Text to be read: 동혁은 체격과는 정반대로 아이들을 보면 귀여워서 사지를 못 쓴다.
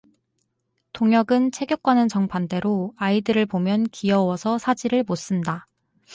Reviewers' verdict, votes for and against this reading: accepted, 2, 0